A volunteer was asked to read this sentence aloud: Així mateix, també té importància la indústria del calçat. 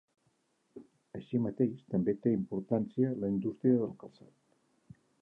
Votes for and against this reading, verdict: 0, 2, rejected